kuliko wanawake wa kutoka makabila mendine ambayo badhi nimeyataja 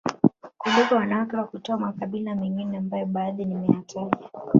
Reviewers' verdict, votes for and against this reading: rejected, 1, 2